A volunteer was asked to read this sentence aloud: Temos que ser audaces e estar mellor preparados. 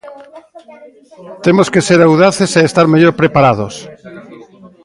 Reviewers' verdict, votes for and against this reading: accepted, 2, 0